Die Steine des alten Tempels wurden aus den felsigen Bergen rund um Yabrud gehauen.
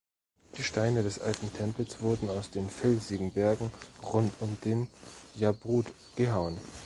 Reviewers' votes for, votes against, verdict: 1, 2, rejected